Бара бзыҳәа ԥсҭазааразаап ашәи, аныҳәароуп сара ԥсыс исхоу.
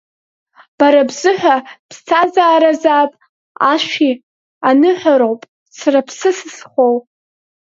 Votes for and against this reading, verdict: 2, 0, accepted